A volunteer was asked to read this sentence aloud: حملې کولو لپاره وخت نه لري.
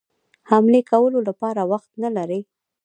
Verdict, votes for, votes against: rejected, 1, 2